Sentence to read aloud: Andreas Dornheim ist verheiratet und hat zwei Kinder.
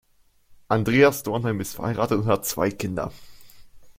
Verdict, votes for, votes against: accepted, 2, 0